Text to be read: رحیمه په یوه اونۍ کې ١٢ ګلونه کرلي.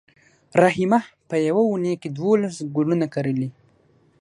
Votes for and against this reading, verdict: 0, 2, rejected